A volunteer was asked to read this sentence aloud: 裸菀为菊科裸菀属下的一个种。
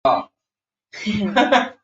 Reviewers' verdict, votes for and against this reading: rejected, 0, 3